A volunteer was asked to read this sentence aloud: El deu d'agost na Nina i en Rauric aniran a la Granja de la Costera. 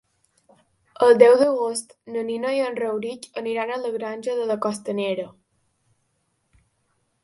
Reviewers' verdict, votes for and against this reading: rejected, 1, 3